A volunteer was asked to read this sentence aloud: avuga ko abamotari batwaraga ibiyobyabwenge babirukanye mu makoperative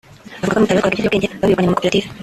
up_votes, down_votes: 0, 2